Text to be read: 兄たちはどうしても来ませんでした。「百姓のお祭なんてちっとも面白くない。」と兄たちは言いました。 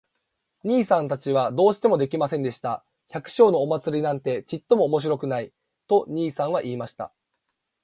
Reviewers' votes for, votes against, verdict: 0, 2, rejected